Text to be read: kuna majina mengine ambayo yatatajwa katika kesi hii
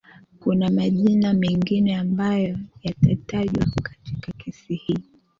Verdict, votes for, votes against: accepted, 2, 1